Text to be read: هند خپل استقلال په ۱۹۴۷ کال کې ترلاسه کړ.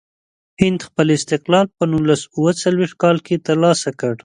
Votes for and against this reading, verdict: 0, 2, rejected